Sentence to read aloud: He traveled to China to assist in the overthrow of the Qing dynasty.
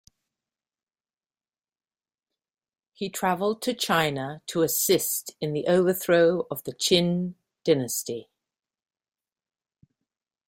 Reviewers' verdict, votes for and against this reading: rejected, 0, 2